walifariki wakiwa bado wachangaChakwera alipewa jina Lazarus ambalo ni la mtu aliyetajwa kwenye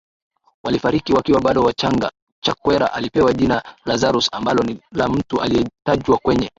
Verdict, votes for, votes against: rejected, 1, 2